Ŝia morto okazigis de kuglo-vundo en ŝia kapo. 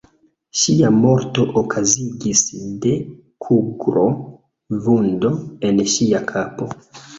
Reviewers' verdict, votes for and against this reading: rejected, 0, 2